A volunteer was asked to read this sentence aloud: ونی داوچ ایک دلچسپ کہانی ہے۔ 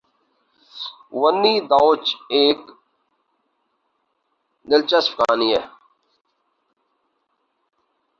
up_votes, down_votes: 2, 2